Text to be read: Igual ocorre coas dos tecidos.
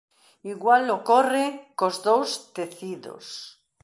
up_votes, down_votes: 0, 2